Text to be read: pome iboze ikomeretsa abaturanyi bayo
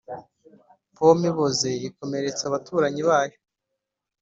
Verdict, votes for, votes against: accepted, 2, 0